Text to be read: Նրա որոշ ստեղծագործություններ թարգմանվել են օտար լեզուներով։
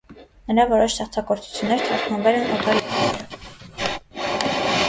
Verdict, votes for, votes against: rejected, 0, 2